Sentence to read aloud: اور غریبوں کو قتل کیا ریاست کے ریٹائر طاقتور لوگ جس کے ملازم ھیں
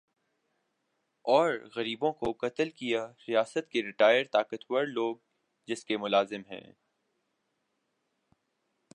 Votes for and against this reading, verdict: 2, 0, accepted